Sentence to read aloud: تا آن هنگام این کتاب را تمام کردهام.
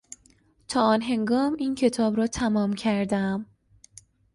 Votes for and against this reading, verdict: 2, 0, accepted